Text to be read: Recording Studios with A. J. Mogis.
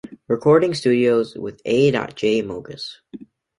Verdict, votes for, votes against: accepted, 2, 0